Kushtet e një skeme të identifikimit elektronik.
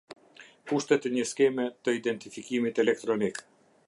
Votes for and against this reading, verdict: 2, 0, accepted